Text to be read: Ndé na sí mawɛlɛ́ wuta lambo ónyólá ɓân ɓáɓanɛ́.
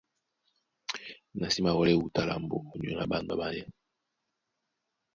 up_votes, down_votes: 1, 2